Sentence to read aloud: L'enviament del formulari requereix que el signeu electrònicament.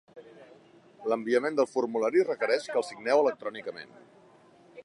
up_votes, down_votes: 2, 0